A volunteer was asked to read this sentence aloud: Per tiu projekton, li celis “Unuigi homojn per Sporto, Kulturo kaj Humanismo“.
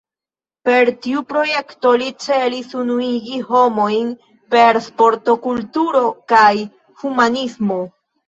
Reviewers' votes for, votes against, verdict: 1, 2, rejected